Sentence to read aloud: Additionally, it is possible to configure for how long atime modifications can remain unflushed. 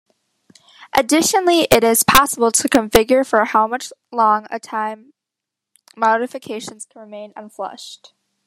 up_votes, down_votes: 1, 2